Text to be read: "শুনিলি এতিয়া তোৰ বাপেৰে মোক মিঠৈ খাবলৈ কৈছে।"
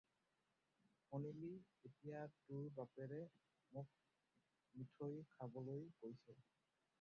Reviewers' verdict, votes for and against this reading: rejected, 0, 4